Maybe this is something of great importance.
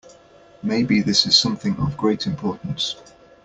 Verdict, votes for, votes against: accepted, 2, 0